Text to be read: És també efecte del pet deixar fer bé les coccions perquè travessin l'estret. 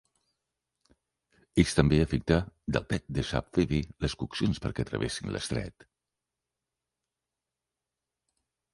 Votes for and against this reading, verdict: 0, 2, rejected